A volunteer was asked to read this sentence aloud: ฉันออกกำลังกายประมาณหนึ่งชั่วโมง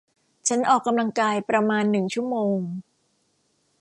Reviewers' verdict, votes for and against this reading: accepted, 2, 0